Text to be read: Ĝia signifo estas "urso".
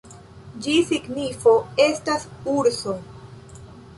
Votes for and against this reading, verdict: 2, 3, rejected